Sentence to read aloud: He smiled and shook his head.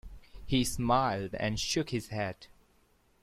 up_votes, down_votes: 2, 0